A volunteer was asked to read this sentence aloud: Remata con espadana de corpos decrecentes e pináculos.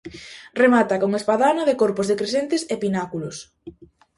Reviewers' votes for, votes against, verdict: 2, 0, accepted